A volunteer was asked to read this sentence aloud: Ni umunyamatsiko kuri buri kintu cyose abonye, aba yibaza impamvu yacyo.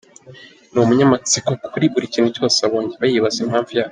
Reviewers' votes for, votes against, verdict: 0, 2, rejected